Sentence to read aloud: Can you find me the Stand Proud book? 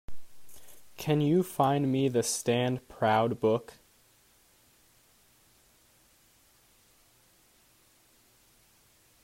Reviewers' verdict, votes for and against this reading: accepted, 2, 0